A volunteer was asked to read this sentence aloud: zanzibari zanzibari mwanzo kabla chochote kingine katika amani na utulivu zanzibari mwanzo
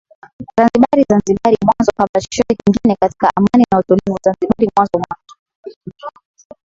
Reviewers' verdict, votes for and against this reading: rejected, 1, 3